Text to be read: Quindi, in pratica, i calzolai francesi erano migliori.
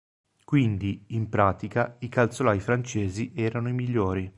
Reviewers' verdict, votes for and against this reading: rejected, 0, 2